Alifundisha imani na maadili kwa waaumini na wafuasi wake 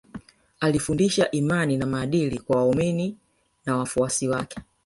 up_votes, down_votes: 1, 2